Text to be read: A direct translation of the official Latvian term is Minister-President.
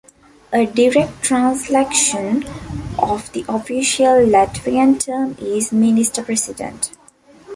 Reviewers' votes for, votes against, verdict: 1, 2, rejected